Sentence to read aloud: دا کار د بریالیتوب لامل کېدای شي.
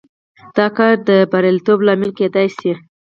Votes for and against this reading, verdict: 4, 0, accepted